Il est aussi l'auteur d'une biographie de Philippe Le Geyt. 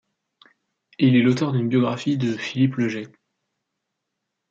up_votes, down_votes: 1, 2